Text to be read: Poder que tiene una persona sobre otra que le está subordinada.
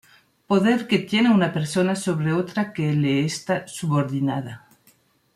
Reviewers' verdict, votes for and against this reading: rejected, 1, 2